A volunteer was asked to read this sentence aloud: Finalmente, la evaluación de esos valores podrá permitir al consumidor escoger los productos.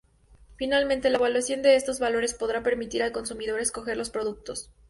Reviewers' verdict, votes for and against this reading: accepted, 2, 0